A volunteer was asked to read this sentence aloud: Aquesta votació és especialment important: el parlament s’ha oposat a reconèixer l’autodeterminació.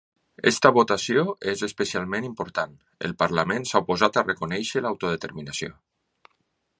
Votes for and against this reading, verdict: 1, 3, rejected